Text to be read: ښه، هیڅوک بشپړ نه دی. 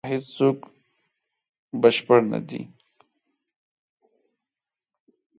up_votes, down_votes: 0, 2